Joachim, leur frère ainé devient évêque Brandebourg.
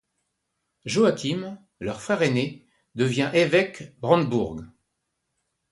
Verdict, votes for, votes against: rejected, 1, 2